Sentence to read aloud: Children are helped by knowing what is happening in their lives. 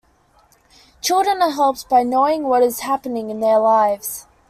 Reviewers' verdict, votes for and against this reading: accepted, 2, 0